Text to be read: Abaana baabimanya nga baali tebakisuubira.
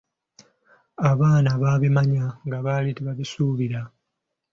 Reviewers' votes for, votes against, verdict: 2, 0, accepted